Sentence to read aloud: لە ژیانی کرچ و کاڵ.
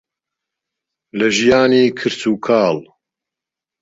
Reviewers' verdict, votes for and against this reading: accepted, 2, 0